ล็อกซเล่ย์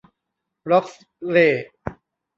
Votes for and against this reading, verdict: 1, 2, rejected